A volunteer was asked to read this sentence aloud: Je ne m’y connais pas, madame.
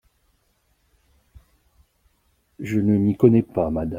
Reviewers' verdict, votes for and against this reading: rejected, 0, 2